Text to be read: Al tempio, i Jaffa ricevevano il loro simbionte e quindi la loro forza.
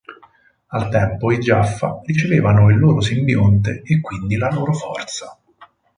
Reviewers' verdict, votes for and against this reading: rejected, 0, 4